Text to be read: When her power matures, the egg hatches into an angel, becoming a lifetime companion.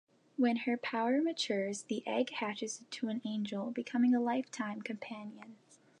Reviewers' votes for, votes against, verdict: 2, 0, accepted